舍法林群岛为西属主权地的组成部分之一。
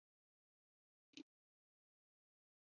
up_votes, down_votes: 1, 2